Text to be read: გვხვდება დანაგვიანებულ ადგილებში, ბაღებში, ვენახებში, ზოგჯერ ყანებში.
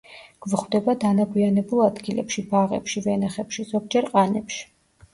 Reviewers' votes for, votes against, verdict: 2, 0, accepted